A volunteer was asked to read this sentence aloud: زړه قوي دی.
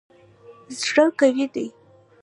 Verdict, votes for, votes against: rejected, 0, 2